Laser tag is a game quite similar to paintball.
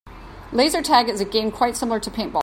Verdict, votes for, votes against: accepted, 2, 0